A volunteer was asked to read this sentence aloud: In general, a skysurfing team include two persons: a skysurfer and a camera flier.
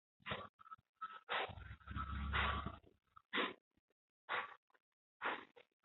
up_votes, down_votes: 0, 2